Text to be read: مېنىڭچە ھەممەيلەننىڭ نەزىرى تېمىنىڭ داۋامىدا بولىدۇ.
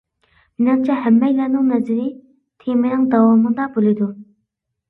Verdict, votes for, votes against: accepted, 2, 0